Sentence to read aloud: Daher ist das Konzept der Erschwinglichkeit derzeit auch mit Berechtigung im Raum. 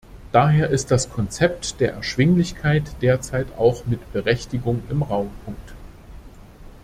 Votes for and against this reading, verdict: 1, 2, rejected